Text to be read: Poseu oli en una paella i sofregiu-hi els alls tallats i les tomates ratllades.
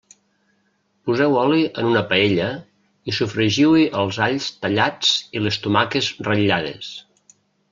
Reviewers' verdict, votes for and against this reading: rejected, 0, 2